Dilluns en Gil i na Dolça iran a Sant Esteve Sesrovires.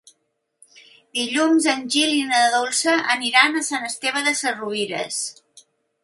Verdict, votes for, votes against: rejected, 1, 2